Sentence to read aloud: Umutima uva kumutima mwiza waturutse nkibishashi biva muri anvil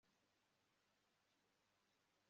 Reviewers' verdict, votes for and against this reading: rejected, 0, 2